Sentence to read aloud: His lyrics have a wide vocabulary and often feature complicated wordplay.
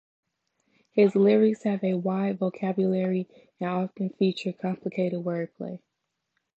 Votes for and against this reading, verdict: 2, 1, accepted